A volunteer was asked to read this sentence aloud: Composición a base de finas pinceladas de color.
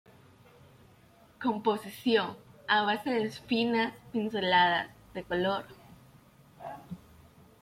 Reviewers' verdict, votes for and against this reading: rejected, 1, 2